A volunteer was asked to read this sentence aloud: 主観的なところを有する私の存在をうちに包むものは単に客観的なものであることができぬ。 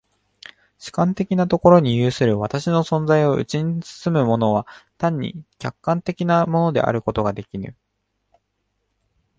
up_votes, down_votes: 0, 2